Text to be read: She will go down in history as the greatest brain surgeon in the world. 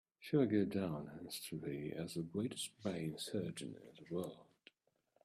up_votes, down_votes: 1, 2